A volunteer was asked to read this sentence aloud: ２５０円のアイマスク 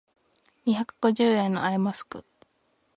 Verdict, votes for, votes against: rejected, 0, 2